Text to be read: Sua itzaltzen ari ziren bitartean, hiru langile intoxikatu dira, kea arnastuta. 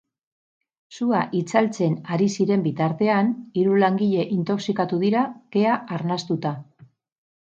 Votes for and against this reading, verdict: 6, 0, accepted